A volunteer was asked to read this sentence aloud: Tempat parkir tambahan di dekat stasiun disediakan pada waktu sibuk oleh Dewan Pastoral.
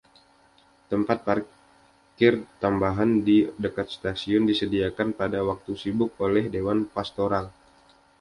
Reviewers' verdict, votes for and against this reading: accepted, 2, 0